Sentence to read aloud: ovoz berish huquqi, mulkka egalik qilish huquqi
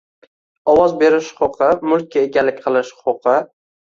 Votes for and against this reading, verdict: 2, 0, accepted